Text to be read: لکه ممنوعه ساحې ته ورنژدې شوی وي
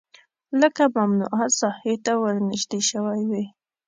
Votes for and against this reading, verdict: 2, 1, accepted